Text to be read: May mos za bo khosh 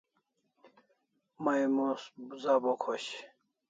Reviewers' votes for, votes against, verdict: 2, 0, accepted